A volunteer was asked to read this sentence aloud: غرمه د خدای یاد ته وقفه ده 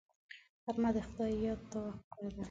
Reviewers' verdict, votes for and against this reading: rejected, 1, 2